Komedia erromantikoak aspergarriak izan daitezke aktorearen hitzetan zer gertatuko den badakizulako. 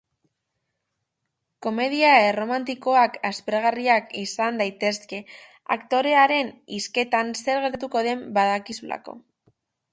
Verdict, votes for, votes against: rejected, 0, 3